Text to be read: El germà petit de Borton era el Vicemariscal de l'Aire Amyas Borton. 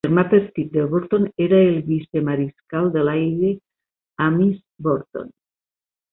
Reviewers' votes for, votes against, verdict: 1, 2, rejected